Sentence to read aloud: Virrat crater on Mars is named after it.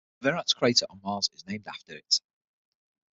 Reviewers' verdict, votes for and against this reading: rejected, 3, 6